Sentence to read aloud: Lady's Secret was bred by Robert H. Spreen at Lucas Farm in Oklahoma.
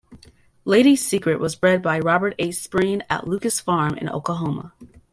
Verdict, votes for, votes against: accepted, 2, 0